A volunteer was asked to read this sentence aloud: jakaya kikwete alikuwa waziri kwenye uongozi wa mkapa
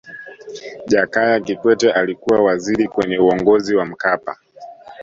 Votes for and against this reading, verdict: 2, 0, accepted